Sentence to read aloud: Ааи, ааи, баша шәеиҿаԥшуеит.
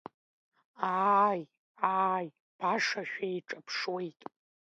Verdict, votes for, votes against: rejected, 1, 2